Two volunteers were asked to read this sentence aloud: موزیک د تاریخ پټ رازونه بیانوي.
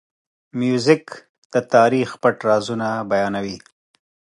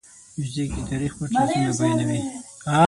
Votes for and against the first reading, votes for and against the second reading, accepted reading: 2, 1, 6, 9, first